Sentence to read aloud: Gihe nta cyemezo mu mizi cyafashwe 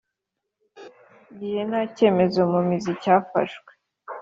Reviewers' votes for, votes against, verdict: 4, 0, accepted